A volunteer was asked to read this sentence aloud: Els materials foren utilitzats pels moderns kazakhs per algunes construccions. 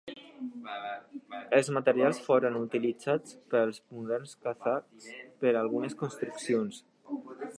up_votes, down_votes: 2, 1